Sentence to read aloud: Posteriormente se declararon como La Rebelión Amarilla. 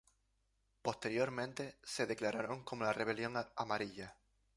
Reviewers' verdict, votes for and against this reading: accepted, 2, 0